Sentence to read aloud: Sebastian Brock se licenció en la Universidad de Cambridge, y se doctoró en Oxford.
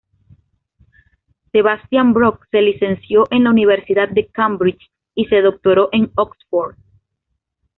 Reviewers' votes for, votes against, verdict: 2, 0, accepted